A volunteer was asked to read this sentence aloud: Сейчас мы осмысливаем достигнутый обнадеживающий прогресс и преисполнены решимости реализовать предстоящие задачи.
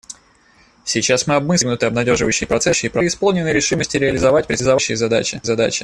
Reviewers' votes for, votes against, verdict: 0, 2, rejected